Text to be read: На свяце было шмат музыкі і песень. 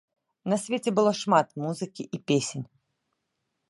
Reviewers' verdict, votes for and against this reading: rejected, 1, 2